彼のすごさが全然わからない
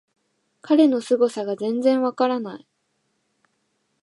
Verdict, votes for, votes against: accepted, 2, 0